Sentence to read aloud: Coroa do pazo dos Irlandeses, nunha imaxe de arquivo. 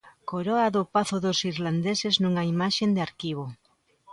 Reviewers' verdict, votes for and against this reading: rejected, 0, 2